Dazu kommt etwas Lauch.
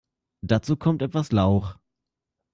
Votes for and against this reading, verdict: 2, 0, accepted